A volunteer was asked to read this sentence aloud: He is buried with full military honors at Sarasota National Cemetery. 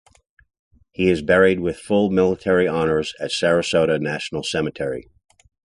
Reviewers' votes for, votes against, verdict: 2, 0, accepted